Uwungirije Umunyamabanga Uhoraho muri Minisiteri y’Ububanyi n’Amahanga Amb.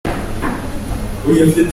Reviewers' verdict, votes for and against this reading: rejected, 0, 2